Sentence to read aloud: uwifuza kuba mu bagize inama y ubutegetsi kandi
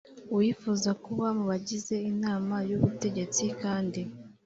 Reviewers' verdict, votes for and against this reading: accepted, 2, 0